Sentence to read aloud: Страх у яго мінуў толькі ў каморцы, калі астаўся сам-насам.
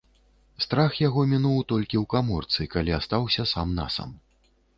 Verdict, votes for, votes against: rejected, 0, 2